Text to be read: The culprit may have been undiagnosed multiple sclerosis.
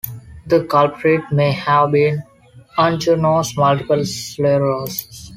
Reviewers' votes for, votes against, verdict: 0, 2, rejected